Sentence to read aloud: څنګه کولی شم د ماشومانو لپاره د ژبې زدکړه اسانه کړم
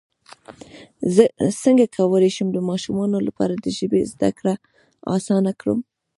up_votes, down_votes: 1, 2